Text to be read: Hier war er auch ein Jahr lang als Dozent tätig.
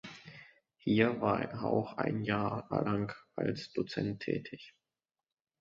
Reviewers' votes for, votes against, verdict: 0, 2, rejected